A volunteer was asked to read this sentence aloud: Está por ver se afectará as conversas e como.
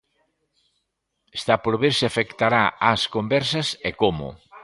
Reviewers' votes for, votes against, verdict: 2, 0, accepted